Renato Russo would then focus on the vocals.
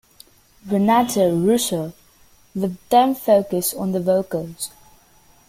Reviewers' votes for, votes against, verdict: 1, 2, rejected